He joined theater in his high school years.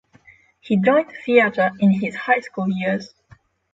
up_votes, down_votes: 6, 0